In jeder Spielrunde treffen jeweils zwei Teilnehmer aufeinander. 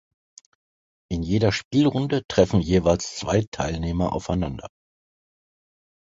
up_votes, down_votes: 2, 0